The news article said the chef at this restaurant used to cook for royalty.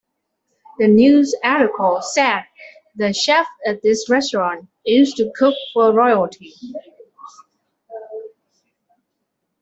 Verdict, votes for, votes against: accepted, 2, 1